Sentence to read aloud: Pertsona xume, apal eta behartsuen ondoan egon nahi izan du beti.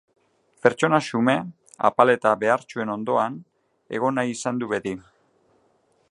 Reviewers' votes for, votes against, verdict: 2, 0, accepted